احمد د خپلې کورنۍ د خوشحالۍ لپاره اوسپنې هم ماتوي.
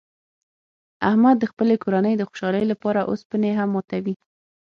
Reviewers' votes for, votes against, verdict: 6, 0, accepted